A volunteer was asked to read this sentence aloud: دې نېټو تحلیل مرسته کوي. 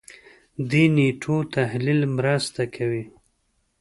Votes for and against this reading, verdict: 3, 0, accepted